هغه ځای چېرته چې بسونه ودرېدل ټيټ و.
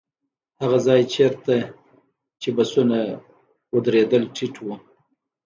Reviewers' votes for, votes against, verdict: 2, 0, accepted